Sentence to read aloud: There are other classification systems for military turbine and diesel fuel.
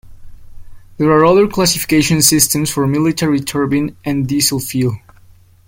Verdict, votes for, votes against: accepted, 2, 0